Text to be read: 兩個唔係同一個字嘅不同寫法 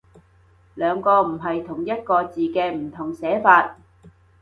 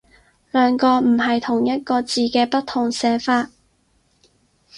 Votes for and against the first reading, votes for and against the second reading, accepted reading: 0, 2, 4, 0, second